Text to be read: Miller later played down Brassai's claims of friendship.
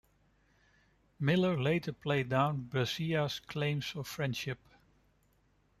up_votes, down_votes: 0, 2